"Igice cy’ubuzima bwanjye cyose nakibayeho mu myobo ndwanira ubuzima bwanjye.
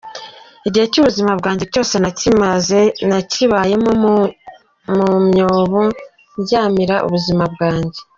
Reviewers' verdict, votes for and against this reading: rejected, 0, 2